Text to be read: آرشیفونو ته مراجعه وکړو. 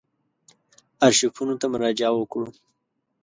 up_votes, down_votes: 2, 0